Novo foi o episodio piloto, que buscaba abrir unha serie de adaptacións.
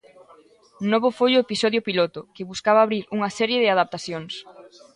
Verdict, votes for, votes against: rejected, 1, 2